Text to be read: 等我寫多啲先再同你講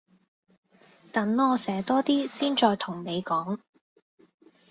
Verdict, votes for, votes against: accepted, 2, 0